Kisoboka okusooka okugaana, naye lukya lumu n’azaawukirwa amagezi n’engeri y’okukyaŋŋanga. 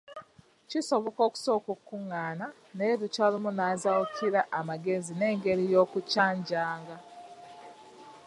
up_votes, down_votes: 2, 3